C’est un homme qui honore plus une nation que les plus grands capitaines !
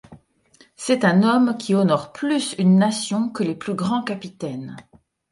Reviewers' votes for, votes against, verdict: 2, 0, accepted